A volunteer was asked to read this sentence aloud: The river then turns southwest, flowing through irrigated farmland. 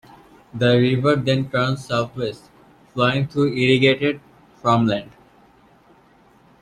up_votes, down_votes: 2, 1